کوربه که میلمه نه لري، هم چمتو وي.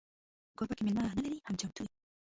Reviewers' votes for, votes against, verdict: 1, 2, rejected